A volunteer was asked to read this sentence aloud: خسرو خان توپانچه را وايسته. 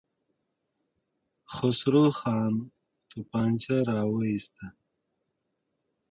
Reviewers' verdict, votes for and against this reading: rejected, 1, 2